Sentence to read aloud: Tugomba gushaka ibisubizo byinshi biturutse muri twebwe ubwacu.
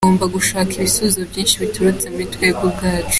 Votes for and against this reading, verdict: 2, 0, accepted